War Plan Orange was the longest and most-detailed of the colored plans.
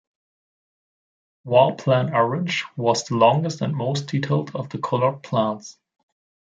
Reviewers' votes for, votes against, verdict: 2, 0, accepted